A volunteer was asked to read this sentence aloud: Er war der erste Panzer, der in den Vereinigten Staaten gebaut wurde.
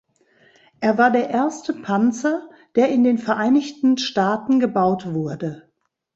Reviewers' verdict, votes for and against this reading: accepted, 2, 0